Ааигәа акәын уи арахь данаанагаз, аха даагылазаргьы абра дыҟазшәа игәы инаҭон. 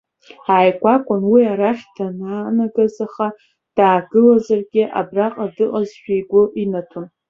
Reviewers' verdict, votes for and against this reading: rejected, 1, 2